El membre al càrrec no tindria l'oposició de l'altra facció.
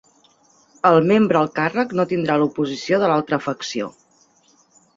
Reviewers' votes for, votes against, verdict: 1, 2, rejected